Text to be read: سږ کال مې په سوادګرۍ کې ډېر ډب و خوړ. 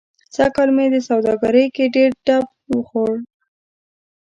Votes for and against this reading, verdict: 0, 2, rejected